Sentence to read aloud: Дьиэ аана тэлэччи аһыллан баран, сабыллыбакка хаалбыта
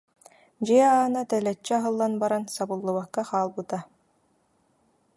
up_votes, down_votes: 2, 0